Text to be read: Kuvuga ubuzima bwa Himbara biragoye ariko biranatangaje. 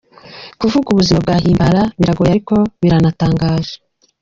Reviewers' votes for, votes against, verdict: 2, 0, accepted